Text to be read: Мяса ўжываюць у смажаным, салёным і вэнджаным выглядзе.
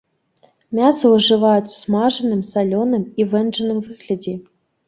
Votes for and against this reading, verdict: 1, 2, rejected